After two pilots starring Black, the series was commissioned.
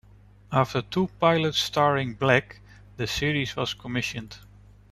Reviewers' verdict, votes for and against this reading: accepted, 2, 1